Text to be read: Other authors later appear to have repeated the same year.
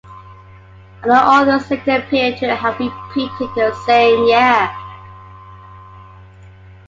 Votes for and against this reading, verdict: 1, 2, rejected